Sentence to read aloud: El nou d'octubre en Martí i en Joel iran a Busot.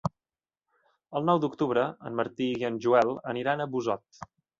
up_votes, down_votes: 2, 3